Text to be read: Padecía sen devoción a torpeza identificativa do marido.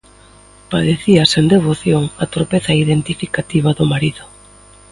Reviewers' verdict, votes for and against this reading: accepted, 2, 0